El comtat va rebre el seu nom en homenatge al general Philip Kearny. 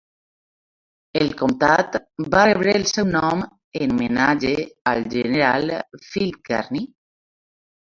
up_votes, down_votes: 0, 2